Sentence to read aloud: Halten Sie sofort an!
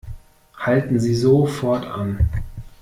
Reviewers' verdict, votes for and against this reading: accepted, 2, 0